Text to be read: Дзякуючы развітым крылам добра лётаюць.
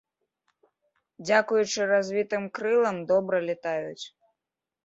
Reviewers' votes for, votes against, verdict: 0, 2, rejected